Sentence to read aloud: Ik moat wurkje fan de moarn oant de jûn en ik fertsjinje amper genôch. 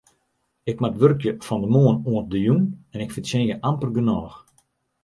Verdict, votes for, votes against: accepted, 2, 0